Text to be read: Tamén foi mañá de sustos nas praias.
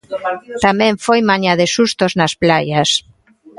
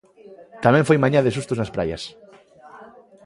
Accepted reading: second